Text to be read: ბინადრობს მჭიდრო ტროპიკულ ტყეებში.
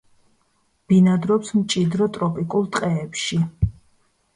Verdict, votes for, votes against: accepted, 2, 0